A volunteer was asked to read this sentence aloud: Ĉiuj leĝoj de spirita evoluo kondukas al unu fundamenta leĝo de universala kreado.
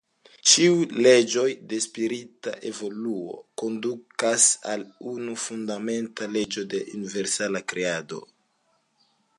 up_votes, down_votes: 2, 0